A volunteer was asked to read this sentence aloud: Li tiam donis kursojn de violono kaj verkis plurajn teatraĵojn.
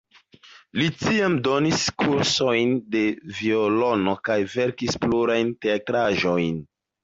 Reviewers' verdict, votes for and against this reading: accepted, 2, 0